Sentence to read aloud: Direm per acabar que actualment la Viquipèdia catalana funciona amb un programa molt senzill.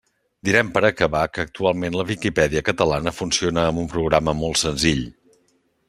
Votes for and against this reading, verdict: 3, 0, accepted